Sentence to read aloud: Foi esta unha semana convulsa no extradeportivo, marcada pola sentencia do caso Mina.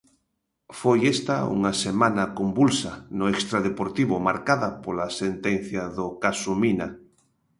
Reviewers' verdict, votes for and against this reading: accepted, 2, 0